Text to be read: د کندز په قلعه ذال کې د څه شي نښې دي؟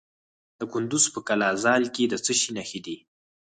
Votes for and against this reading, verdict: 2, 4, rejected